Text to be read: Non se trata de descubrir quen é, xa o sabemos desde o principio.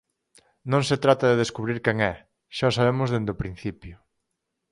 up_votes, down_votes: 2, 4